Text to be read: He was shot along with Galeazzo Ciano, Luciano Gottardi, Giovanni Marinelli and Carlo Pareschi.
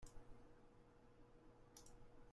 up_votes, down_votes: 0, 2